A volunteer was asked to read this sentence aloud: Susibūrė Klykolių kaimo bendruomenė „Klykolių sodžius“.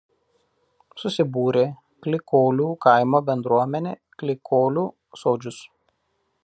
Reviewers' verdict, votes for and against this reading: accepted, 2, 0